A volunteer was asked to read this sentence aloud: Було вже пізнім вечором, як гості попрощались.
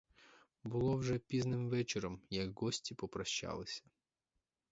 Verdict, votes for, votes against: accepted, 4, 2